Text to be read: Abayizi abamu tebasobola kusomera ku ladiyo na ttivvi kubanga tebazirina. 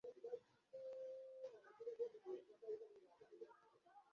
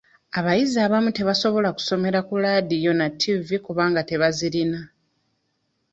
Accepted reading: second